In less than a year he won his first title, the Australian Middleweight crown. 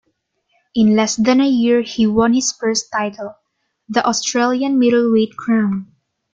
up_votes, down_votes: 2, 0